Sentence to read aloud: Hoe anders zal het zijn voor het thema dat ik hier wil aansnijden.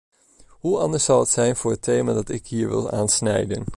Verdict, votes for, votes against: accepted, 2, 0